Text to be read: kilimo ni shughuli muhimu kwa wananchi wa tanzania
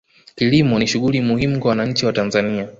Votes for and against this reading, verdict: 1, 2, rejected